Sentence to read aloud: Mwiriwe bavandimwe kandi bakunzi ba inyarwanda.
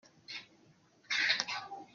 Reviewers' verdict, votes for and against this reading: rejected, 0, 2